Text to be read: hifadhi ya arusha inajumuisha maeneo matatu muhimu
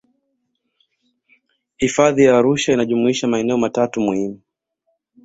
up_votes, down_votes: 0, 2